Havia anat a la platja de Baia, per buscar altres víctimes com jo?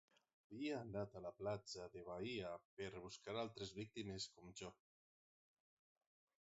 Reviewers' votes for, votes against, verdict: 3, 6, rejected